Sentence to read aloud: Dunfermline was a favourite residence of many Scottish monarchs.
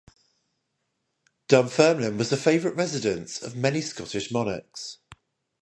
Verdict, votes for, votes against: rejected, 0, 5